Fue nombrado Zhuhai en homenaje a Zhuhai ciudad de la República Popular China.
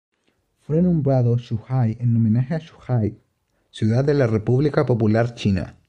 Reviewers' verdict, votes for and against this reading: accepted, 2, 0